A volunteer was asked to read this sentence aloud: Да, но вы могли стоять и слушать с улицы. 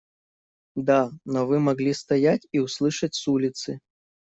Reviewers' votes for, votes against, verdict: 0, 2, rejected